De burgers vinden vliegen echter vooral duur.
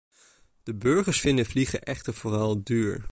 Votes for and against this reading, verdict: 2, 0, accepted